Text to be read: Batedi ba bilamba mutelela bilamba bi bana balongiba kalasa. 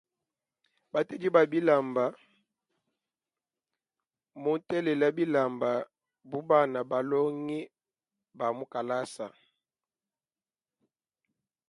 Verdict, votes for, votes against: accepted, 2, 1